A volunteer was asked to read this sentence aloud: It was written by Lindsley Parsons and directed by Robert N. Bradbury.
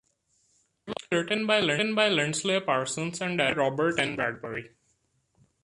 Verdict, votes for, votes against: rejected, 1, 2